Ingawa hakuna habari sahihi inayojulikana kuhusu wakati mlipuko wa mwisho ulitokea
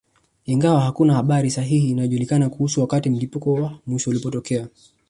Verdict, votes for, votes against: rejected, 0, 2